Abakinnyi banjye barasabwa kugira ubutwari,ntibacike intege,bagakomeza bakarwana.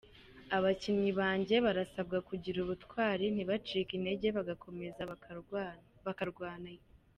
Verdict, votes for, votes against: rejected, 1, 2